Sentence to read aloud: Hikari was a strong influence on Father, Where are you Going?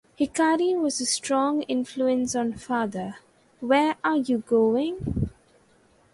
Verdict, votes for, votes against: accepted, 4, 0